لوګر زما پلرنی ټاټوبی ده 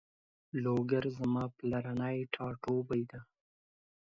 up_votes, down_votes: 2, 0